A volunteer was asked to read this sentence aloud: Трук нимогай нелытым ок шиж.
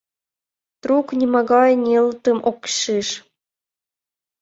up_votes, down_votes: 2, 0